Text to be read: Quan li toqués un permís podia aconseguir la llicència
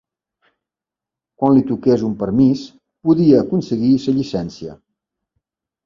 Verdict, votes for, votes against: accepted, 4, 1